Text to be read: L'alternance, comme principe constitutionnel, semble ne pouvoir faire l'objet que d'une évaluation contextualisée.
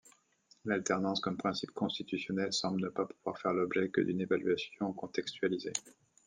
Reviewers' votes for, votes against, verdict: 0, 2, rejected